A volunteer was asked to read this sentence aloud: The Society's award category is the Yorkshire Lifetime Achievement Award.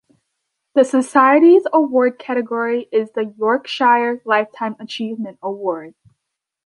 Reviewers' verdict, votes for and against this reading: accepted, 2, 0